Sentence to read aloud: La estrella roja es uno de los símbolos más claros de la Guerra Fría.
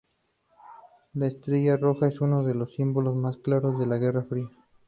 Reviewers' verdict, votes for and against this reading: accepted, 4, 0